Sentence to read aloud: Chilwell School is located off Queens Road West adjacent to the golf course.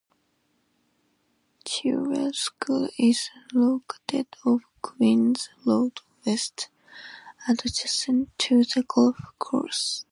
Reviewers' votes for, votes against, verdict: 2, 0, accepted